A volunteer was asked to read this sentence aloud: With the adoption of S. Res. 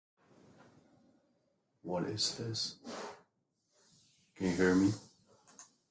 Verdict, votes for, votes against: rejected, 0, 2